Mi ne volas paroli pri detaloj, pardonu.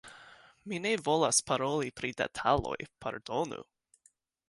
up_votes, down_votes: 2, 1